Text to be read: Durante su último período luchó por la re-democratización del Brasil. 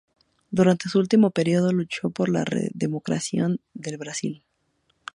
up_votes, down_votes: 0, 4